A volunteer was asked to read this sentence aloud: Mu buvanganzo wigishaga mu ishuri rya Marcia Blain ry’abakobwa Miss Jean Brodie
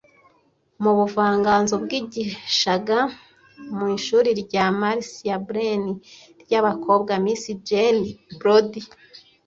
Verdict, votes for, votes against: rejected, 1, 2